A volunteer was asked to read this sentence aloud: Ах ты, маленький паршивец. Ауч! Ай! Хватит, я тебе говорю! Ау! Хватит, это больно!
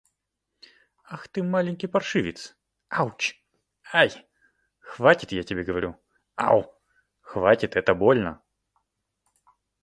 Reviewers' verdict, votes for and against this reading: accepted, 2, 0